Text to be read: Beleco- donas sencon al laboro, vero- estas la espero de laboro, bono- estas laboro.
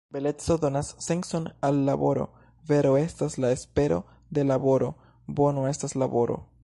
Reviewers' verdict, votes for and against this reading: rejected, 1, 2